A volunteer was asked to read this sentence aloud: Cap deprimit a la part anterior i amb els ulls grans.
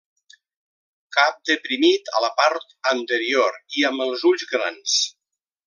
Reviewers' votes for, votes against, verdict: 3, 0, accepted